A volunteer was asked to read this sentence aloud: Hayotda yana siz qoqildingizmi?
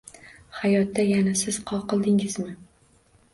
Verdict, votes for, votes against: rejected, 1, 2